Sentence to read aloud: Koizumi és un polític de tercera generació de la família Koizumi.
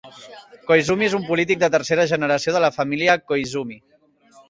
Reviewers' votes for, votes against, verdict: 2, 0, accepted